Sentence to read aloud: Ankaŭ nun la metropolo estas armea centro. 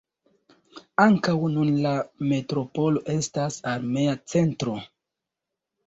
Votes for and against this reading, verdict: 2, 0, accepted